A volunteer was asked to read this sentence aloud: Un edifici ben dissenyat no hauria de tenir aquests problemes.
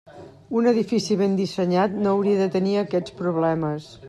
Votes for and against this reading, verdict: 3, 0, accepted